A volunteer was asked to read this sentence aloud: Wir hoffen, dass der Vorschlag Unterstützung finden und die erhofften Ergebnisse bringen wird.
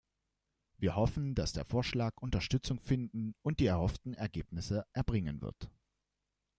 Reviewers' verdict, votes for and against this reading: rejected, 1, 2